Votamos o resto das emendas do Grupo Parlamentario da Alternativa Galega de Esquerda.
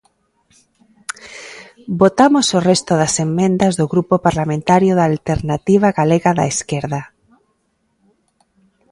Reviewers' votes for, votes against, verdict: 1, 2, rejected